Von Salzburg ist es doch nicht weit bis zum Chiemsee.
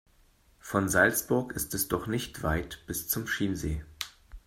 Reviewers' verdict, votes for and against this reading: rejected, 3, 4